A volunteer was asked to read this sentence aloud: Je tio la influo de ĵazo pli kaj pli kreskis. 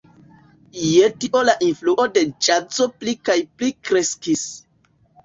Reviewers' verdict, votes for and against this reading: rejected, 1, 2